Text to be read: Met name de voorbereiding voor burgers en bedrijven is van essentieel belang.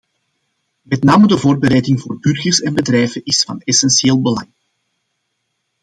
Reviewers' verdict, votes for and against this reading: accepted, 2, 0